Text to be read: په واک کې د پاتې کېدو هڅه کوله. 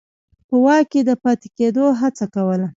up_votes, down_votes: 0, 2